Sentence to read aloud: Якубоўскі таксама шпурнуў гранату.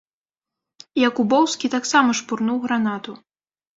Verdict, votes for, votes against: accepted, 2, 0